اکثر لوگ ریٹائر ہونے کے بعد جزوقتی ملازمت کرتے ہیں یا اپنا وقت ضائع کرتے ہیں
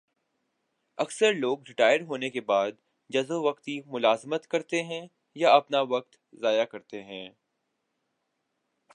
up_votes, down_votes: 3, 2